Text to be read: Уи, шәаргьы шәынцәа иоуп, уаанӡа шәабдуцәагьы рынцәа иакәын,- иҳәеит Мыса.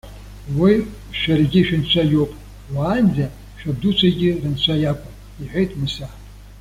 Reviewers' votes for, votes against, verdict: 2, 0, accepted